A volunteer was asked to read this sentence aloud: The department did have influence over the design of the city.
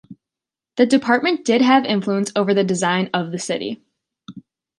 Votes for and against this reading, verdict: 2, 0, accepted